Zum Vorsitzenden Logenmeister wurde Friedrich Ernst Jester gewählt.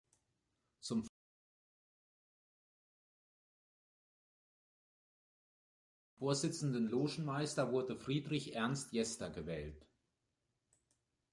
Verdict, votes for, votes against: rejected, 0, 2